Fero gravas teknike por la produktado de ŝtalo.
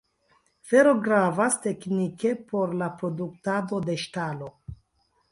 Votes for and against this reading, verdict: 0, 2, rejected